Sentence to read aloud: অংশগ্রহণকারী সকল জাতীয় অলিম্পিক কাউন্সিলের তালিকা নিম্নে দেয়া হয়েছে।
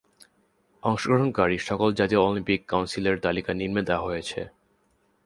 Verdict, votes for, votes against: accepted, 5, 2